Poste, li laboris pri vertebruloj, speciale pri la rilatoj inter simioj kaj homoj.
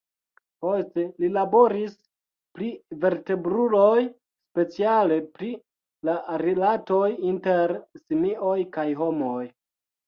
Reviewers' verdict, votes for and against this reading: accepted, 2, 0